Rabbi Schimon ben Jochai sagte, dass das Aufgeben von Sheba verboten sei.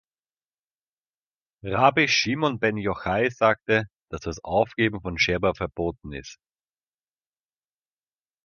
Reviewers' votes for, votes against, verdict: 1, 2, rejected